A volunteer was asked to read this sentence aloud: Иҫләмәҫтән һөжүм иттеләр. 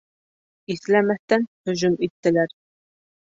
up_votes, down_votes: 3, 0